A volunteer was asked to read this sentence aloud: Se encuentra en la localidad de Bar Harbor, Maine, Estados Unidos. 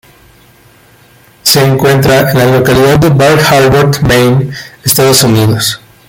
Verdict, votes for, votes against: rejected, 1, 2